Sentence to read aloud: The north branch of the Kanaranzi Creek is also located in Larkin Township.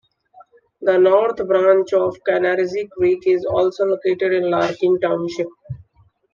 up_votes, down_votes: 2, 1